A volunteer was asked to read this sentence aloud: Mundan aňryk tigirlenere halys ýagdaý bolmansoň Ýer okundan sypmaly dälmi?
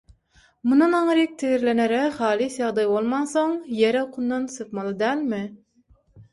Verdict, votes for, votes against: accepted, 6, 0